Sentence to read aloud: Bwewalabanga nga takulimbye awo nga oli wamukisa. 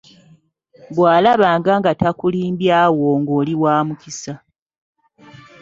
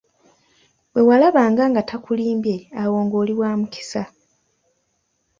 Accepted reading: second